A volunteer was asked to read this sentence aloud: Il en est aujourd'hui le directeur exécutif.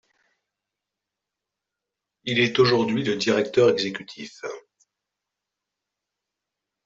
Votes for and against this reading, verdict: 0, 2, rejected